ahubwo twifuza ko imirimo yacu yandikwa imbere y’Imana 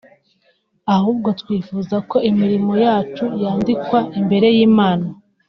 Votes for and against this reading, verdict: 1, 2, rejected